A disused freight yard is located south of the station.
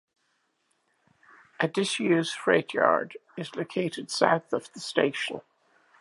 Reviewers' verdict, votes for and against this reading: accepted, 2, 1